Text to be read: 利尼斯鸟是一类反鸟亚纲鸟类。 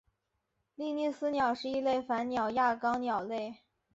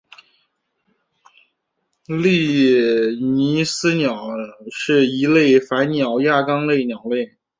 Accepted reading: first